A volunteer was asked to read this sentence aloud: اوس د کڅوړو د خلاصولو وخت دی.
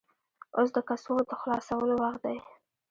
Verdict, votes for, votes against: rejected, 1, 2